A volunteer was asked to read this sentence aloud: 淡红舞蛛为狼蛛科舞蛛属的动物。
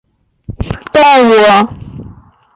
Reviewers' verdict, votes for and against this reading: rejected, 0, 3